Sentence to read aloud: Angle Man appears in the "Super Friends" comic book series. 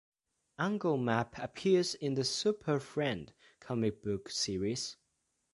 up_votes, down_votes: 1, 2